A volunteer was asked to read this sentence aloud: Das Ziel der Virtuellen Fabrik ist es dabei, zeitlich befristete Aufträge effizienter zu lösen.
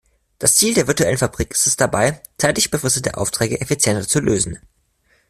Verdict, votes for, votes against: accepted, 2, 1